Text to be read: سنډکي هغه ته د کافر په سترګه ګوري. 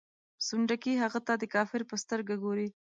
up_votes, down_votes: 2, 0